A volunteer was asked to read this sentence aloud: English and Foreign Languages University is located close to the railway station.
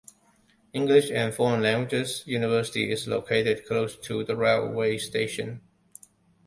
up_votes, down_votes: 2, 1